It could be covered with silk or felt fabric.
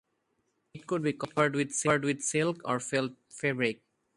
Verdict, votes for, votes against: rejected, 0, 2